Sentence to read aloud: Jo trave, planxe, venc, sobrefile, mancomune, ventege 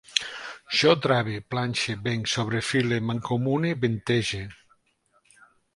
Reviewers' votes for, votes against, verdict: 3, 0, accepted